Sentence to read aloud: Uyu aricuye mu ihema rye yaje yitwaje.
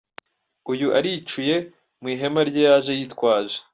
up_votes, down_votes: 2, 1